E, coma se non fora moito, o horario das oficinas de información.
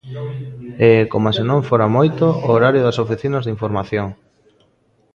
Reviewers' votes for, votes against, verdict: 1, 2, rejected